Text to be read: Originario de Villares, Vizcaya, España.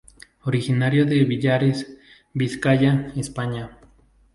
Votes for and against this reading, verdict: 0, 2, rejected